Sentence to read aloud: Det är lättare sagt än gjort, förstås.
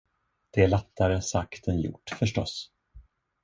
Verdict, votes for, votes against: rejected, 1, 2